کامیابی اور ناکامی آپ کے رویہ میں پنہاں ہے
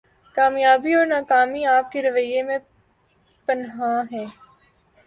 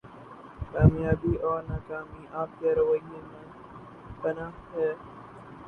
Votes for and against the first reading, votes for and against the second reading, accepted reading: 2, 0, 0, 2, first